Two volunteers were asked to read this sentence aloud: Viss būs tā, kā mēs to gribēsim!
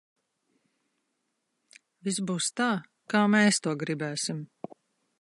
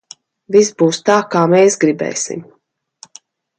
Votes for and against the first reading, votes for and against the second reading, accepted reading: 2, 0, 1, 2, first